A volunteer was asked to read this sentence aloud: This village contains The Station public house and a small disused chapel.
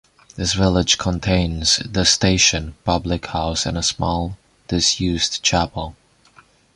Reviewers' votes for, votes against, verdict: 1, 2, rejected